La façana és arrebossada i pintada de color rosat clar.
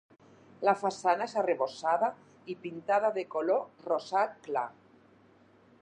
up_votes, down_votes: 0, 4